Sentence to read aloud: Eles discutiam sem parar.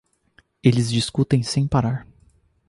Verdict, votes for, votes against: rejected, 0, 2